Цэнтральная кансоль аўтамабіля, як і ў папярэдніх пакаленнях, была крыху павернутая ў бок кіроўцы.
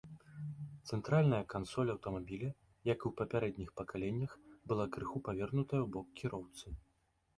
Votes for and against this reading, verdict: 1, 2, rejected